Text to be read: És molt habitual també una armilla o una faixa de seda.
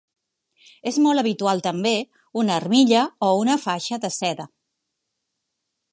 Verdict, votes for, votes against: accepted, 3, 0